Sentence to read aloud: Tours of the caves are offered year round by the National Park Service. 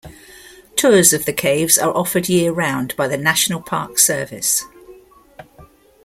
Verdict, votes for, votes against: accepted, 2, 0